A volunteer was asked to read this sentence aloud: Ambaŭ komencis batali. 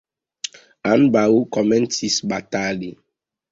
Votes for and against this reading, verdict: 0, 2, rejected